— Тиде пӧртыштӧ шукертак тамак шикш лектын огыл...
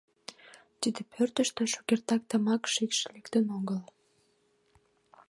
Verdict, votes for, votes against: accepted, 2, 0